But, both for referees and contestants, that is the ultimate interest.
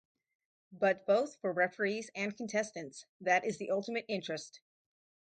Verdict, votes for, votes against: rejected, 0, 2